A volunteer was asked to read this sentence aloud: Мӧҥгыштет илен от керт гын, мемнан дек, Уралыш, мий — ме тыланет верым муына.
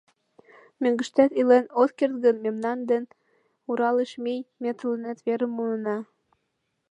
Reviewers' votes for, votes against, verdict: 1, 2, rejected